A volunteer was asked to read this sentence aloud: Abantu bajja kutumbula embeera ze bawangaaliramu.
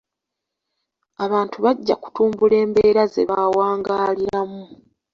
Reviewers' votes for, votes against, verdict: 0, 2, rejected